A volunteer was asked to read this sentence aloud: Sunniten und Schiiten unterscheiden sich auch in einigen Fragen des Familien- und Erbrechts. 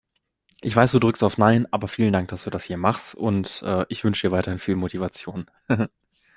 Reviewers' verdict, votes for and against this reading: rejected, 0, 2